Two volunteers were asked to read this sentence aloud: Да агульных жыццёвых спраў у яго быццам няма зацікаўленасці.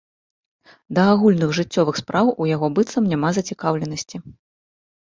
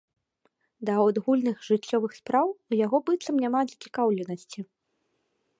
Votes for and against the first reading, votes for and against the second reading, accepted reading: 2, 0, 0, 3, first